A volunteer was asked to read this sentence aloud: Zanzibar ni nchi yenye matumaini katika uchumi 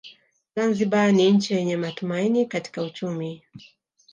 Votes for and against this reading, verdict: 1, 2, rejected